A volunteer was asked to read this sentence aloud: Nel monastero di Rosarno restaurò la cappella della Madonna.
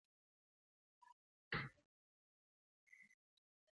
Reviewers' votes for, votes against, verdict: 0, 2, rejected